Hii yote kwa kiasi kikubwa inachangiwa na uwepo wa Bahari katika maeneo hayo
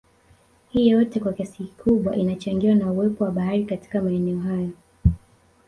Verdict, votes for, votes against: rejected, 1, 2